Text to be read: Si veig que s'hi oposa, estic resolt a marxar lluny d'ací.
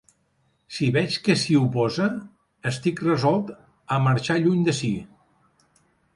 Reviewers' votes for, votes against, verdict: 2, 0, accepted